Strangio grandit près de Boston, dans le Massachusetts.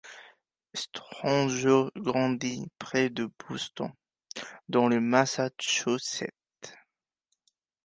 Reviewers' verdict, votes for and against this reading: accepted, 2, 1